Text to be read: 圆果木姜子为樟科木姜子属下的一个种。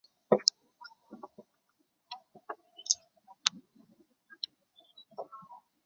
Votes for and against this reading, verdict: 0, 4, rejected